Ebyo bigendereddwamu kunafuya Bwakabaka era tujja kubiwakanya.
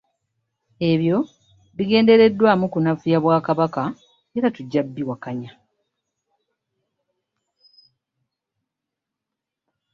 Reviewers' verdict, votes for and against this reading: accepted, 2, 0